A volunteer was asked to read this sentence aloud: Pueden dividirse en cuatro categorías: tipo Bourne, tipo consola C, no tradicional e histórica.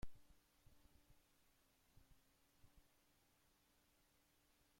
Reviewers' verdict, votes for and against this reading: rejected, 0, 2